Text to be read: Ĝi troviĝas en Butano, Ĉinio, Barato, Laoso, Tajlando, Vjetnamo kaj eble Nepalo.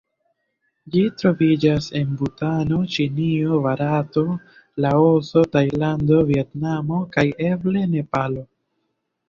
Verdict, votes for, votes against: accepted, 2, 0